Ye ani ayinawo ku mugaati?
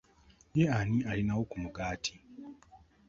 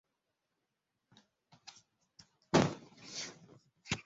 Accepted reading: first